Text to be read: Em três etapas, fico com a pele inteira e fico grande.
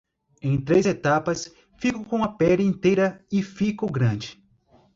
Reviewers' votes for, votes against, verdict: 0, 2, rejected